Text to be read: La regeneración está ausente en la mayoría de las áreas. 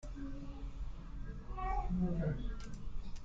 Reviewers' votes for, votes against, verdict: 0, 2, rejected